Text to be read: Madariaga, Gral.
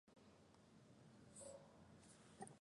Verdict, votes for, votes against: rejected, 0, 2